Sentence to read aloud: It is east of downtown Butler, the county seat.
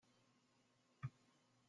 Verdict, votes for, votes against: rejected, 0, 2